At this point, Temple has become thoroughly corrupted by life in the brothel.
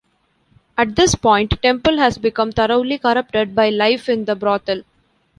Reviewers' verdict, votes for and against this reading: accepted, 2, 1